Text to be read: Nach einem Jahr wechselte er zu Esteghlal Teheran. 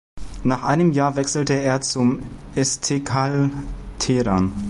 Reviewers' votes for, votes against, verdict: 0, 2, rejected